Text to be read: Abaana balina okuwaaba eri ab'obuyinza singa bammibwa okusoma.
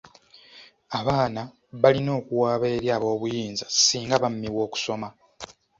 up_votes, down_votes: 2, 0